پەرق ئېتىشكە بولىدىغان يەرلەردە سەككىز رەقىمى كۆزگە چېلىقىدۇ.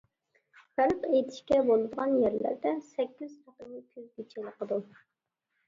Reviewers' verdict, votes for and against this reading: rejected, 0, 2